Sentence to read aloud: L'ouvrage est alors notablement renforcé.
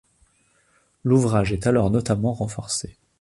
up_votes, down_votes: 2, 1